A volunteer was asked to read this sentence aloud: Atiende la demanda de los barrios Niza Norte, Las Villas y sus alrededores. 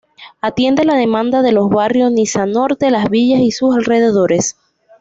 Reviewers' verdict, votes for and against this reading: accepted, 2, 0